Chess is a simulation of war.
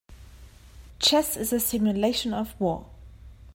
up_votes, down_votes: 2, 0